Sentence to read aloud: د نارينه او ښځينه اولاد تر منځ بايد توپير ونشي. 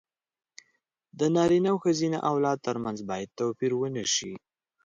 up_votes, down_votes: 2, 0